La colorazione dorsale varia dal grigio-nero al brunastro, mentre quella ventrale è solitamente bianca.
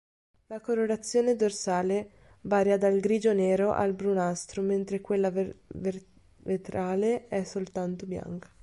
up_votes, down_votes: 1, 2